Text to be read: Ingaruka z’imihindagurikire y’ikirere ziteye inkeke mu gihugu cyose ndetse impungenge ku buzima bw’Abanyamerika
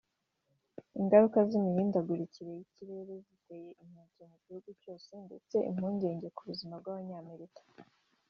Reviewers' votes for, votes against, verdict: 2, 3, rejected